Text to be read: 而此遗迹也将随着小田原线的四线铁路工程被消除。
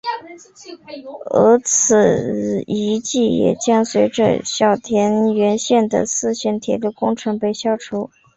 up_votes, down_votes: 4, 0